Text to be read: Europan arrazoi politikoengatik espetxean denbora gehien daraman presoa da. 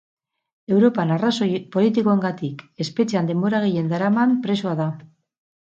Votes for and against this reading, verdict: 8, 0, accepted